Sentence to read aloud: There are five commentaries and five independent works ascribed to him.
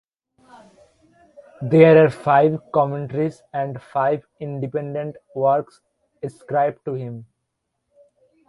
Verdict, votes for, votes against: accepted, 2, 0